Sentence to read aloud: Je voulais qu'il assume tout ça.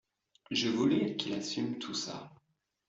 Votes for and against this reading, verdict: 2, 1, accepted